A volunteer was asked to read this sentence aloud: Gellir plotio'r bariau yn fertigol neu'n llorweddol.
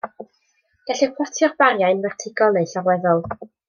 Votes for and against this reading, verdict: 2, 0, accepted